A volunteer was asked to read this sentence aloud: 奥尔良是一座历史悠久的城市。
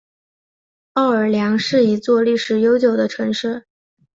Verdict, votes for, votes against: rejected, 1, 2